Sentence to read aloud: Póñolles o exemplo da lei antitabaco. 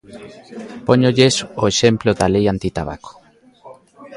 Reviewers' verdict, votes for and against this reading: accepted, 2, 0